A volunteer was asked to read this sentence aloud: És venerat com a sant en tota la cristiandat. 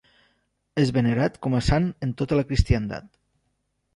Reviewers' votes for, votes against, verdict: 3, 0, accepted